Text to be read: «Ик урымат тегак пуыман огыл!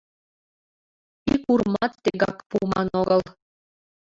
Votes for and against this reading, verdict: 1, 2, rejected